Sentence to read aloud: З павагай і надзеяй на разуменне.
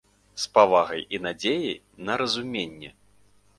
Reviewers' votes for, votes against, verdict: 2, 0, accepted